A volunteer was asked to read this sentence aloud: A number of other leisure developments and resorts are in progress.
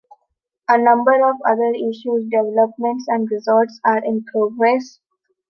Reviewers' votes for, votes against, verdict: 0, 2, rejected